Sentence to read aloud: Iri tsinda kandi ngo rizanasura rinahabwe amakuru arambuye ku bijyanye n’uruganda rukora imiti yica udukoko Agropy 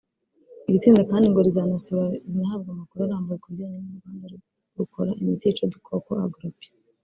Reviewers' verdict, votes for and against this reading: rejected, 1, 3